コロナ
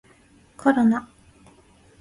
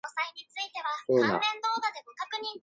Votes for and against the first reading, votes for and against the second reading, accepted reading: 2, 0, 1, 2, first